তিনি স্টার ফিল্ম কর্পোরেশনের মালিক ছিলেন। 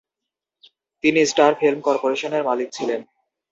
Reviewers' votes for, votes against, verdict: 0, 2, rejected